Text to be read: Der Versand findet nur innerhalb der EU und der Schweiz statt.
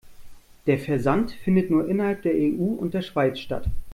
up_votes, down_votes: 2, 0